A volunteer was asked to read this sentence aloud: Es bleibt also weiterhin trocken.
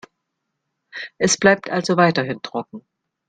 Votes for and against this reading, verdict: 2, 0, accepted